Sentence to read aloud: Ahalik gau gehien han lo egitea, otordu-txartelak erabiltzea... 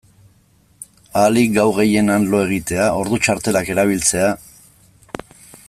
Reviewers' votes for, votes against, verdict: 0, 2, rejected